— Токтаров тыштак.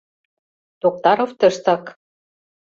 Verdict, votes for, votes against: accepted, 2, 0